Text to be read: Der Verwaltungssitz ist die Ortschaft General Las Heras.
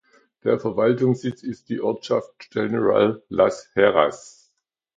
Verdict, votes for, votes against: accepted, 2, 0